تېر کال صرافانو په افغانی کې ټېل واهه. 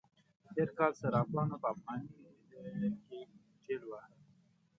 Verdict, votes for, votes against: rejected, 1, 2